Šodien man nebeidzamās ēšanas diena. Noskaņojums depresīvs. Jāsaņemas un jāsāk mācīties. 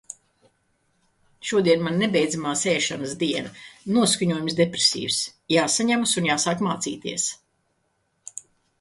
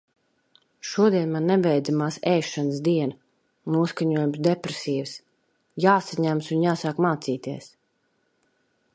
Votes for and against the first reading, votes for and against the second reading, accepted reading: 2, 0, 1, 2, first